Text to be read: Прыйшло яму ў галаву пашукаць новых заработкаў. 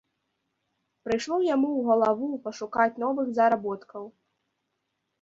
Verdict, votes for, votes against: accepted, 2, 0